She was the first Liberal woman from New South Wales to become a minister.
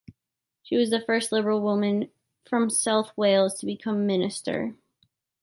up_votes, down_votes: 0, 2